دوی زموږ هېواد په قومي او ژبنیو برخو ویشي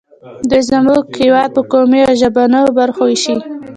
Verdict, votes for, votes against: accepted, 2, 0